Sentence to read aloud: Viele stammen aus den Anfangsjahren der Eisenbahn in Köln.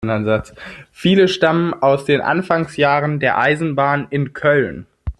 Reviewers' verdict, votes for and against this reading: rejected, 0, 2